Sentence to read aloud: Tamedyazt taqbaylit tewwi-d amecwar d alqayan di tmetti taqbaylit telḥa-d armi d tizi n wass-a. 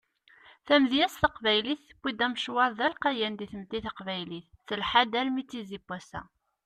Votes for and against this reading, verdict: 2, 1, accepted